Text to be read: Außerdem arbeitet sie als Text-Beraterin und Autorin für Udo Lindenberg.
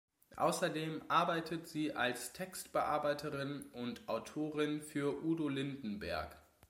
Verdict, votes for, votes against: rejected, 0, 2